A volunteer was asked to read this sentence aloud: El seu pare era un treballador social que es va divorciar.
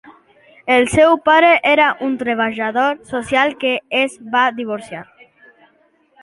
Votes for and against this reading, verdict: 2, 0, accepted